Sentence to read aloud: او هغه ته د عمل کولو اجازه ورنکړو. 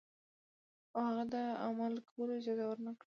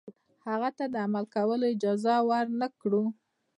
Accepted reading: first